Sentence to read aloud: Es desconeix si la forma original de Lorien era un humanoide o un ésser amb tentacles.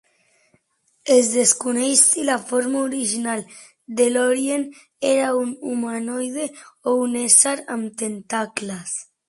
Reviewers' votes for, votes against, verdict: 2, 0, accepted